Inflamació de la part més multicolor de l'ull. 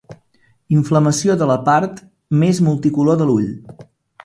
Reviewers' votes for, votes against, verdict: 3, 0, accepted